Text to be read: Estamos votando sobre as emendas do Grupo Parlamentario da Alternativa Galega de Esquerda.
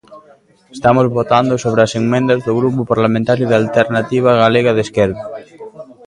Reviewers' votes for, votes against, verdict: 0, 2, rejected